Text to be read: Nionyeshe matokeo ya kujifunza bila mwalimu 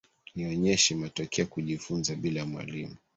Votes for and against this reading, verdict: 1, 2, rejected